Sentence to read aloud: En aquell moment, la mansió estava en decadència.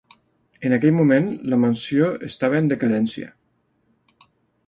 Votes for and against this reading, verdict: 2, 0, accepted